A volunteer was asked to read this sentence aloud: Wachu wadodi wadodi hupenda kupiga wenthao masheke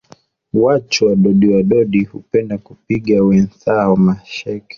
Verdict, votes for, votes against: accepted, 2, 0